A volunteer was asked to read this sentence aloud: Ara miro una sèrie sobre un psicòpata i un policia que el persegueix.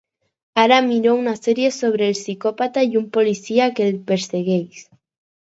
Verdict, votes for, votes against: accepted, 4, 2